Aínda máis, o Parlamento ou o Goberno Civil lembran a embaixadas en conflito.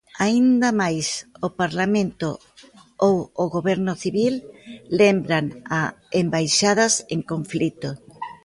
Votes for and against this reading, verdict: 2, 0, accepted